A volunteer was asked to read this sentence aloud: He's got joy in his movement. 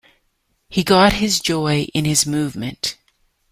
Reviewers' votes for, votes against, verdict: 1, 2, rejected